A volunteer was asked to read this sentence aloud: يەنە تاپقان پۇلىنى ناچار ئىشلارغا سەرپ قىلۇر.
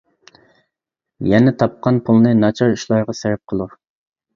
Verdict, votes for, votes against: rejected, 1, 2